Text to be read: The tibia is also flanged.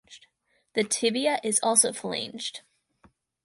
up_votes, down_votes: 2, 4